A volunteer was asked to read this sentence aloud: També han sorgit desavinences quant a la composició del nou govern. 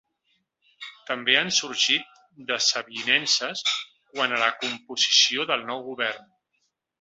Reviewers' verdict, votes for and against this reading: accepted, 2, 1